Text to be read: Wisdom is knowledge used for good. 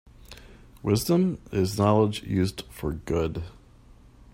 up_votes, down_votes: 2, 0